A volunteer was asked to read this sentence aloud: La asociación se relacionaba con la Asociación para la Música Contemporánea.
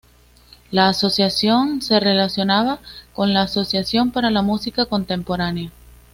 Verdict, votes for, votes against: accepted, 2, 0